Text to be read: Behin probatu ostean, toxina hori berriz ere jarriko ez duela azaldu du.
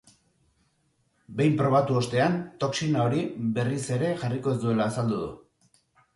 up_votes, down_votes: 2, 0